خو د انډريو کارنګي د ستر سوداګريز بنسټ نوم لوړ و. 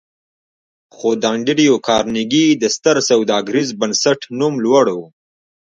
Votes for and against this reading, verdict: 2, 0, accepted